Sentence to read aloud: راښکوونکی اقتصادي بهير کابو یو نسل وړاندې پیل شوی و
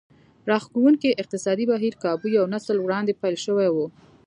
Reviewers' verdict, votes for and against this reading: accepted, 2, 0